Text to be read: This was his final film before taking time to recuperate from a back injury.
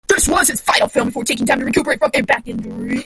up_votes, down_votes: 1, 2